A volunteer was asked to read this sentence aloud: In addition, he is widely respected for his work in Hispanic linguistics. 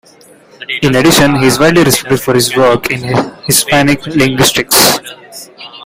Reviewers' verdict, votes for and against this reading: accepted, 2, 1